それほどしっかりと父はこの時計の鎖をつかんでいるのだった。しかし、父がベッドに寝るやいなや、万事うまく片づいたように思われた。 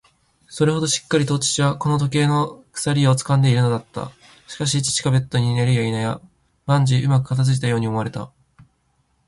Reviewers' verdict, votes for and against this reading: accepted, 2, 0